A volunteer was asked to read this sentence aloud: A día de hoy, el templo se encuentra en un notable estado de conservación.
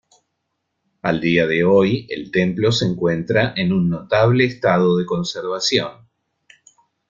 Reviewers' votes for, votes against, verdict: 0, 2, rejected